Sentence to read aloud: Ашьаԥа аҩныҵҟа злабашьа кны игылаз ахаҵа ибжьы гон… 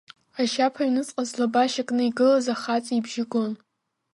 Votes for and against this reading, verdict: 2, 0, accepted